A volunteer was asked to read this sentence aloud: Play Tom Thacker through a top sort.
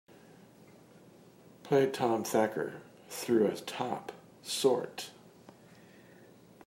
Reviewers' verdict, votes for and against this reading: accepted, 2, 1